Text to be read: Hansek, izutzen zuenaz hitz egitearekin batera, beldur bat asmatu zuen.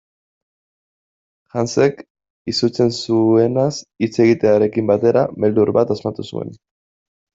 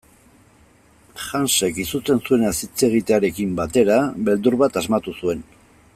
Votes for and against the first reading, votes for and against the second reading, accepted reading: 1, 2, 2, 0, second